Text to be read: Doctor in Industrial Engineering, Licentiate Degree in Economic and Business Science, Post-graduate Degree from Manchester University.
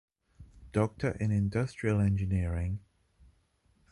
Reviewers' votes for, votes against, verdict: 0, 2, rejected